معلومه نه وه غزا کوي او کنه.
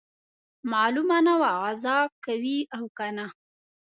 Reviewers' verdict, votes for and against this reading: accepted, 2, 0